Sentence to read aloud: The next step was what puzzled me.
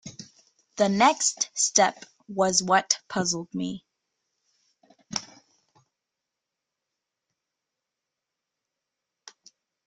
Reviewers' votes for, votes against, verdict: 2, 0, accepted